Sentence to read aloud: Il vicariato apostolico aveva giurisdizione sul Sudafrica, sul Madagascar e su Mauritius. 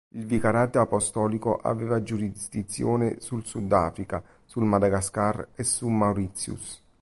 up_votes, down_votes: 2, 1